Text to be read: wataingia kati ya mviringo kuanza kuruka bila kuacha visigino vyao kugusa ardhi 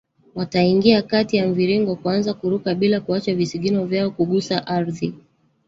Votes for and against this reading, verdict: 1, 2, rejected